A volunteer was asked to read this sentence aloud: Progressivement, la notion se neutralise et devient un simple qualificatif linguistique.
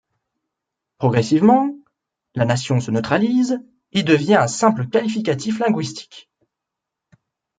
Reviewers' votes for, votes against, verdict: 1, 2, rejected